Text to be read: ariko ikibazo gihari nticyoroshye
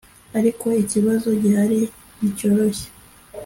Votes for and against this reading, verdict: 2, 0, accepted